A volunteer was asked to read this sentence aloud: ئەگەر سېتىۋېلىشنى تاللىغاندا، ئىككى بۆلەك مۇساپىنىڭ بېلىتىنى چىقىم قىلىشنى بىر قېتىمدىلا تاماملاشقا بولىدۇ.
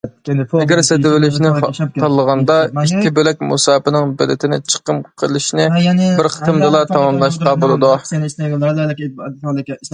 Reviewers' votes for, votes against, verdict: 1, 2, rejected